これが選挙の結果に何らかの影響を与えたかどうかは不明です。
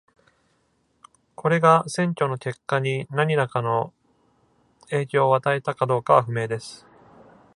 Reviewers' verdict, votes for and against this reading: rejected, 1, 2